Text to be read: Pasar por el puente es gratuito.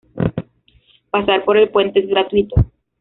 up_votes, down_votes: 2, 1